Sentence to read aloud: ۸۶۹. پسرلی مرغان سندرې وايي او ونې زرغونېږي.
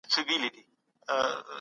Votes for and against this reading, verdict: 0, 2, rejected